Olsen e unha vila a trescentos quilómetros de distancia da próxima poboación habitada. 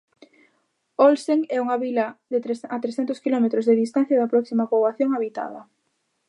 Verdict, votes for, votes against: rejected, 0, 2